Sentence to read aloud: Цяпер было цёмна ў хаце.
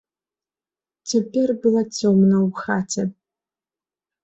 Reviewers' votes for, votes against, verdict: 1, 2, rejected